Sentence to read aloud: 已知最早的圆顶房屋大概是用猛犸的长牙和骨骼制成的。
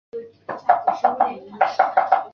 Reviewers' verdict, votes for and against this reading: rejected, 0, 8